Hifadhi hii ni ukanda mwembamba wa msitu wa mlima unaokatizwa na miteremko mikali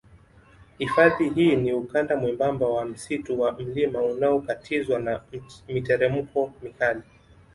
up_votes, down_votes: 2, 0